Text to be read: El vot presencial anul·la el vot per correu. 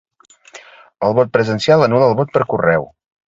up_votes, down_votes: 2, 0